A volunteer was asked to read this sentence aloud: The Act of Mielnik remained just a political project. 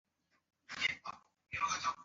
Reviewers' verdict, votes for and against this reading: rejected, 0, 2